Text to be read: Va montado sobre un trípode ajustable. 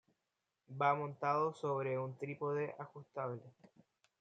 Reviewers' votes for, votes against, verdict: 1, 2, rejected